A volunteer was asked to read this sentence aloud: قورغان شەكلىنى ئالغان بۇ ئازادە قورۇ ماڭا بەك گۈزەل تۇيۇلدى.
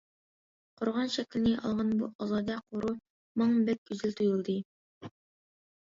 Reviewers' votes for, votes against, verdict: 1, 2, rejected